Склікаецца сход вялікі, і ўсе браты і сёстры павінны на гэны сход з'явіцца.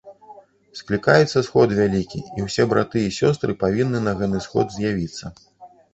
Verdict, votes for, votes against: rejected, 1, 2